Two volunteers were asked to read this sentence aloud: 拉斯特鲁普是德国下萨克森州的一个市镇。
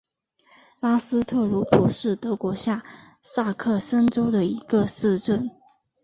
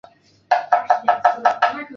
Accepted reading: first